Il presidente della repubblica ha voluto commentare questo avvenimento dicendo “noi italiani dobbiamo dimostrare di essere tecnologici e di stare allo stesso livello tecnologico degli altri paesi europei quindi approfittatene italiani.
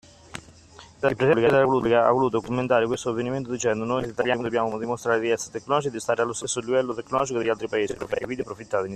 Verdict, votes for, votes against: accepted, 2, 1